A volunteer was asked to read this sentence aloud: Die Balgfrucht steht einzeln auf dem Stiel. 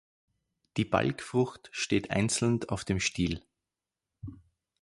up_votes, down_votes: 2, 4